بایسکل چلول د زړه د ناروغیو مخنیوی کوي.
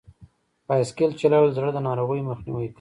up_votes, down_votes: 0, 2